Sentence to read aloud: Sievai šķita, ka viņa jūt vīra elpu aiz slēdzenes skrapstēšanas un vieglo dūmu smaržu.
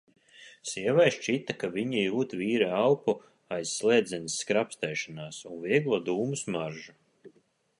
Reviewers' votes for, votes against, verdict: 1, 2, rejected